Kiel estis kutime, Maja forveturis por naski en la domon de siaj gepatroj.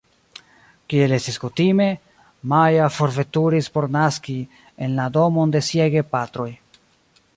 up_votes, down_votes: 2, 0